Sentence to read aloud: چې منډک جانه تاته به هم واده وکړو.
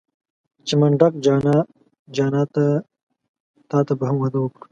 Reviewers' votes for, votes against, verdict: 1, 2, rejected